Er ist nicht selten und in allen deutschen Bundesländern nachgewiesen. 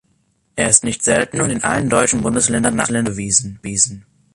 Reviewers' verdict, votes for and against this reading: rejected, 0, 2